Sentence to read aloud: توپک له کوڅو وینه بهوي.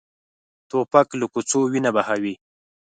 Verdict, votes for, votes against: accepted, 4, 0